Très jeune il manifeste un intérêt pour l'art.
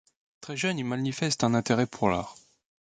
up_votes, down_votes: 1, 2